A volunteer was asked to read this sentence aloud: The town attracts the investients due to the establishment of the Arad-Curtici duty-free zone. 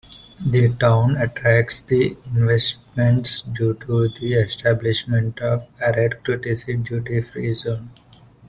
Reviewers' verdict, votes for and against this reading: rejected, 0, 2